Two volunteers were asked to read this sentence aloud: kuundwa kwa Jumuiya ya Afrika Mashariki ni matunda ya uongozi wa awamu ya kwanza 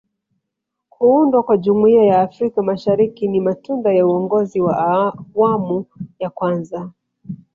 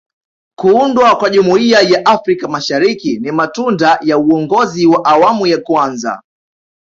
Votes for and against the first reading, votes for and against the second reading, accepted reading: 1, 2, 2, 0, second